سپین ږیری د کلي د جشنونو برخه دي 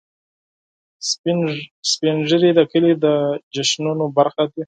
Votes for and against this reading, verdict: 4, 2, accepted